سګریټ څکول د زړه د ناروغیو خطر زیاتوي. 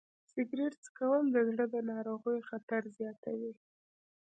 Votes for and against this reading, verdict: 2, 1, accepted